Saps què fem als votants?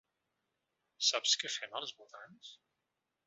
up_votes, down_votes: 2, 0